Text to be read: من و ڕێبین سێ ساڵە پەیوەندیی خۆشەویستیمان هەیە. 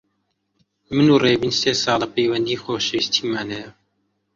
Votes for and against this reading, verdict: 2, 0, accepted